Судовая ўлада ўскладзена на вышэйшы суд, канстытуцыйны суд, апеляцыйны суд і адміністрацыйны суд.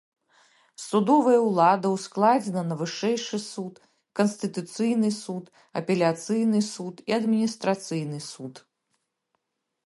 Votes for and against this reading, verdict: 2, 0, accepted